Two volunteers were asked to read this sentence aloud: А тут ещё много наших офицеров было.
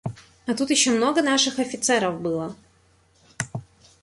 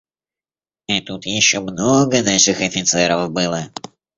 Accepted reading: first